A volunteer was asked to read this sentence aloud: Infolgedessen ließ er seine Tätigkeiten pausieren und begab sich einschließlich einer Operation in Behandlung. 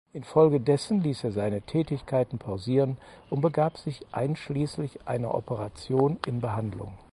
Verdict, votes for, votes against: accepted, 4, 0